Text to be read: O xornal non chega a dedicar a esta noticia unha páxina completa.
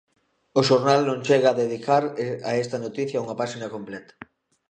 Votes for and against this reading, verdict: 0, 2, rejected